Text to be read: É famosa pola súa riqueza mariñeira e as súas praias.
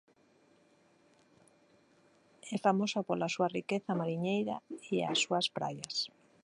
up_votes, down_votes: 0, 2